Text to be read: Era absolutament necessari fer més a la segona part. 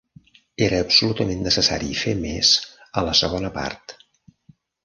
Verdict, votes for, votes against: accepted, 3, 0